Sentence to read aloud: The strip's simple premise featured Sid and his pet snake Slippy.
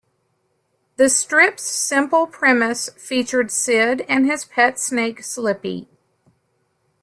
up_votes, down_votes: 2, 0